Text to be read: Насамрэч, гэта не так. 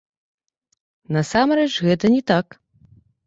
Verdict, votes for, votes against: rejected, 0, 2